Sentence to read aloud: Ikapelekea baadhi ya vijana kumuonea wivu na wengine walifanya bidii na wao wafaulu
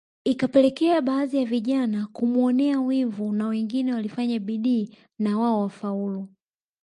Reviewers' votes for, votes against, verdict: 1, 2, rejected